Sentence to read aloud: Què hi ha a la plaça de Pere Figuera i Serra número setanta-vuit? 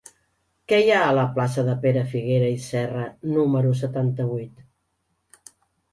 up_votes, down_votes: 3, 0